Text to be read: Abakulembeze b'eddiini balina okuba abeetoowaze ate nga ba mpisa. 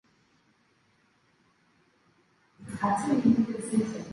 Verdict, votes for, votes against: rejected, 0, 2